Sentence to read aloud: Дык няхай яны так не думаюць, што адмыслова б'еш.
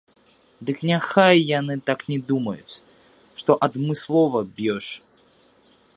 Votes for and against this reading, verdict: 0, 2, rejected